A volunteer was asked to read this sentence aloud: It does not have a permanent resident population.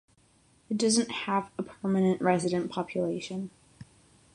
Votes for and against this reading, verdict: 3, 6, rejected